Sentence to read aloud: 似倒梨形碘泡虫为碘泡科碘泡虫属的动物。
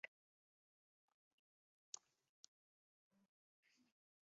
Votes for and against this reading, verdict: 0, 3, rejected